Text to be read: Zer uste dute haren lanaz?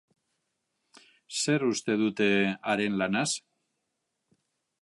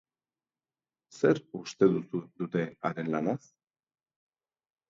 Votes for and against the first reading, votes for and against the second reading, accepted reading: 2, 0, 2, 3, first